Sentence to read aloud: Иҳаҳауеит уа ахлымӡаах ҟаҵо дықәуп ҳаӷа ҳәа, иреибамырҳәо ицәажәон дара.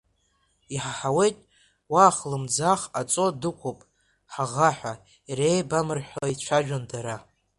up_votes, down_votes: 0, 2